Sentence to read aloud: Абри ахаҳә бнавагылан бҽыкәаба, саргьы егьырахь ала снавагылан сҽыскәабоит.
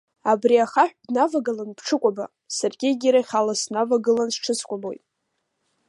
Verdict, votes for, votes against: accepted, 2, 0